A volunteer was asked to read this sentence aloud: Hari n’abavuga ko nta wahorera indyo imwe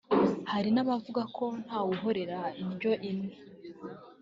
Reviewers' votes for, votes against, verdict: 2, 0, accepted